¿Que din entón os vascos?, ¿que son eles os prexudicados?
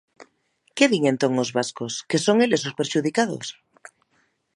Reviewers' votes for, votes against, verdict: 1, 2, rejected